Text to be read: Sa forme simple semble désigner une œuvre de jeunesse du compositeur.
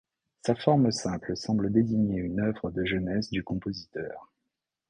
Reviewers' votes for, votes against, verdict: 2, 0, accepted